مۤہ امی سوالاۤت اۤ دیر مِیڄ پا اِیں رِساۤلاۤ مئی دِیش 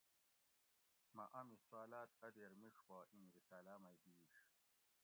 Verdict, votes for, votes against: rejected, 1, 2